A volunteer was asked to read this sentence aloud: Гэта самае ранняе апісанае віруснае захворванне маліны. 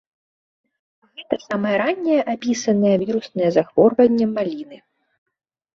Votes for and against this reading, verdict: 1, 2, rejected